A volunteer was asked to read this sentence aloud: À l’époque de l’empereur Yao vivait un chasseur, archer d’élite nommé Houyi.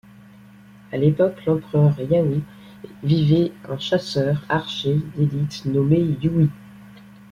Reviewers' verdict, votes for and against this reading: rejected, 0, 2